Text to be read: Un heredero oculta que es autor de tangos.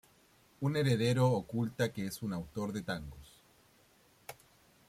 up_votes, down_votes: 0, 2